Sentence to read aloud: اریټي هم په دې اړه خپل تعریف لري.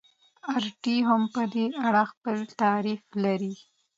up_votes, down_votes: 2, 0